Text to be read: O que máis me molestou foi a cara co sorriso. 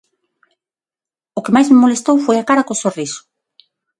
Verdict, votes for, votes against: accepted, 6, 0